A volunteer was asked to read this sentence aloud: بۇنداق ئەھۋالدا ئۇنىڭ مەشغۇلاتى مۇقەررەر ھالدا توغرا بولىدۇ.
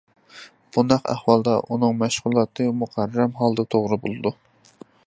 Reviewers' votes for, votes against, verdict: 2, 0, accepted